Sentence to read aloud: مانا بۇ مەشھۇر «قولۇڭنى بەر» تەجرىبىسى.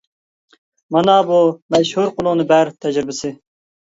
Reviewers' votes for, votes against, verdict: 2, 1, accepted